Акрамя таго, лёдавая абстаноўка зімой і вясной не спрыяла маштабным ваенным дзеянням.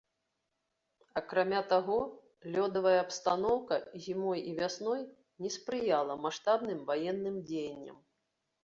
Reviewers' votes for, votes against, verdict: 2, 0, accepted